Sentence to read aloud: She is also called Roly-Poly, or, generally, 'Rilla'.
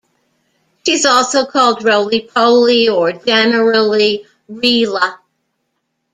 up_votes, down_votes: 1, 2